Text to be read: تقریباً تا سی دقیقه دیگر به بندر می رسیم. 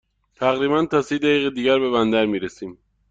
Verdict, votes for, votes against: accepted, 2, 0